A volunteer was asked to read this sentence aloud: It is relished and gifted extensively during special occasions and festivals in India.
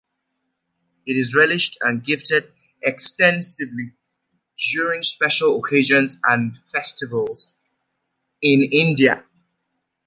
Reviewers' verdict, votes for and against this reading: accepted, 2, 0